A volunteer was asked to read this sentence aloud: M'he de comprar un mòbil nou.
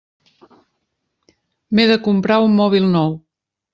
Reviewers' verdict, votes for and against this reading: accepted, 3, 0